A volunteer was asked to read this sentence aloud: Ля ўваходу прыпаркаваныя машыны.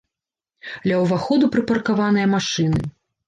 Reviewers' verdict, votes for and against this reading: rejected, 1, 2